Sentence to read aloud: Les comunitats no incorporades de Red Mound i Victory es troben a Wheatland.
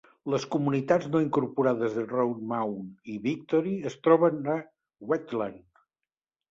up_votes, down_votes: 2, 0